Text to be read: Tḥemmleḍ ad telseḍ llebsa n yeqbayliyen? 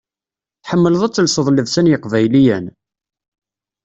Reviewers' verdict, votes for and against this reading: accepted, 2, 0